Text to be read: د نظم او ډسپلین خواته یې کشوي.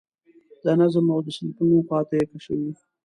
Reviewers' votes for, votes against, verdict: 2, 1, accepted